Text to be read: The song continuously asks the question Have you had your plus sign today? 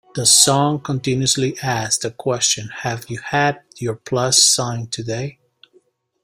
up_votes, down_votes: 2, 0